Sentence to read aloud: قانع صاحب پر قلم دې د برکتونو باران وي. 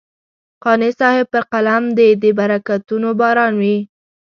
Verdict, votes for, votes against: accepted, 2, 0